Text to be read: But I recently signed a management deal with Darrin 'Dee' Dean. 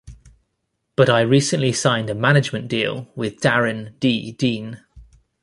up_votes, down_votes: 2, 0